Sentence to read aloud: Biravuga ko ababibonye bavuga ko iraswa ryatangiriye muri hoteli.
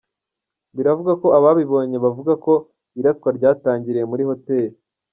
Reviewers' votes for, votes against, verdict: 0, 2, rejected